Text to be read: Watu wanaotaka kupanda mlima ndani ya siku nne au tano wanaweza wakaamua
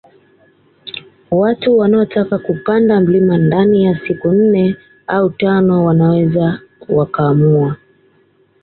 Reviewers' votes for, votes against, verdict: 2, 0, accepted